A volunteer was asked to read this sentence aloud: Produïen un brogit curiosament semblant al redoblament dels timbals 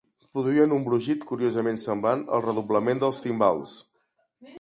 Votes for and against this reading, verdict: 2, 0, accepted